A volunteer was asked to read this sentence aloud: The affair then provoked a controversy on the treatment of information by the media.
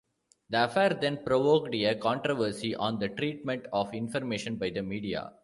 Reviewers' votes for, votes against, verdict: 1, 2, rejected